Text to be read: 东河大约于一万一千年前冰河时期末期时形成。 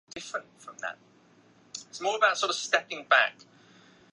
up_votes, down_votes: 0, 2